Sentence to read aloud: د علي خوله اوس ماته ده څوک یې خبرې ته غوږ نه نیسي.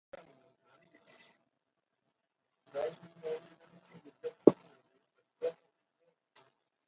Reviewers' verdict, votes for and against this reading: rejected, 1, 2